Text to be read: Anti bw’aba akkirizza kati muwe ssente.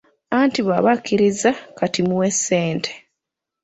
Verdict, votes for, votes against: accepted, 2, 0